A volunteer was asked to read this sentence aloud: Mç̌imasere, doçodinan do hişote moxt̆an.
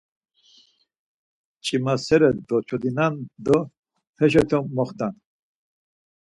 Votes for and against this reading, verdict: 4, 0, accepted